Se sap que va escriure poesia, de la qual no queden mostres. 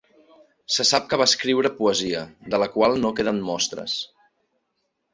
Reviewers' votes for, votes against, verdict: 2, 0, accepted